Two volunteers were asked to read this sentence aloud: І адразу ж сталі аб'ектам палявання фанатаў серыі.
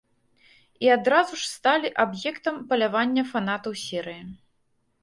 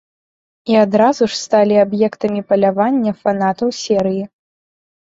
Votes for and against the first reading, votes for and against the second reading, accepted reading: 2, 0, 0, 2, first